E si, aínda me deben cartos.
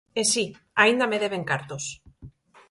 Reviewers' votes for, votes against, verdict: 4, 0, accepted